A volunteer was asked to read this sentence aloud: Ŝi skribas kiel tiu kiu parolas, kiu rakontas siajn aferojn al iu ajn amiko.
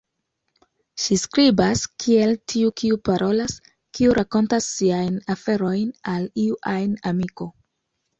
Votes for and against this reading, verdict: 2, 0, accepted